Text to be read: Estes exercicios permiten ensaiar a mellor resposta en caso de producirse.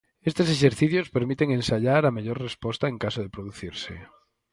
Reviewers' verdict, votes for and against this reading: accepted, 4, 0